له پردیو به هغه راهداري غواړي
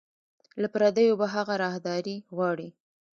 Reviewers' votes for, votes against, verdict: 1, 2, rejected